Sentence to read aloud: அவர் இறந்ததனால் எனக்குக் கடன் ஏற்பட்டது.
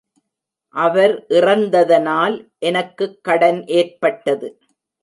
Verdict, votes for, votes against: accepted, 2, 0